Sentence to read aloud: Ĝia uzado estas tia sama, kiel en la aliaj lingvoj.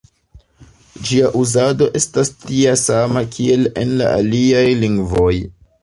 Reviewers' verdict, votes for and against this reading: accepted, 2, 1